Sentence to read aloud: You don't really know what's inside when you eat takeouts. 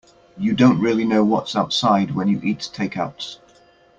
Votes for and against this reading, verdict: 0, 2, rejected